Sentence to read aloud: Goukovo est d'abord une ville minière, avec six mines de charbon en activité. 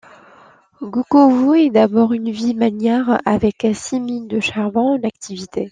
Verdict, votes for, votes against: rejected, 1, 2